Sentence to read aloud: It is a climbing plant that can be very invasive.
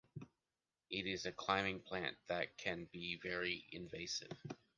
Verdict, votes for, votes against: accepted, 2, 0